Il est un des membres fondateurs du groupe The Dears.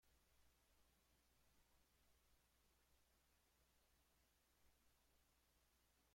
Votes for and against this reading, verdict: 0, 2, rejected